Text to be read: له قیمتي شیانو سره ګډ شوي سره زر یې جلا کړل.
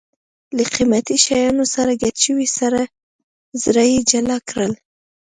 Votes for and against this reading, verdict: 0, 2, rejected